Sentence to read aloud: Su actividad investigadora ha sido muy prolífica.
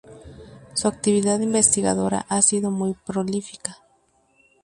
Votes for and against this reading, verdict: 4, 0, accepted